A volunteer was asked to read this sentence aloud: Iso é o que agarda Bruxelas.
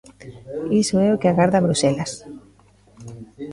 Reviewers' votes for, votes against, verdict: 2, 0, accepted